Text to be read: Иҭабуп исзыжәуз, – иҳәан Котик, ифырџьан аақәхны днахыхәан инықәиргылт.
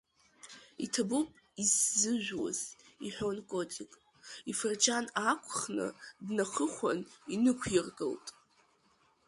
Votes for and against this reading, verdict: 0, 2, rejected